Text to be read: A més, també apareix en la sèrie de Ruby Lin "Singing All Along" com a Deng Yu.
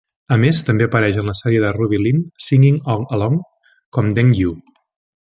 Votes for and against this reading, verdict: 0, 2, rejected